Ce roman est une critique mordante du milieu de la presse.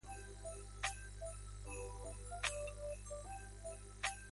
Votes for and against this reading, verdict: 0, 2, rejected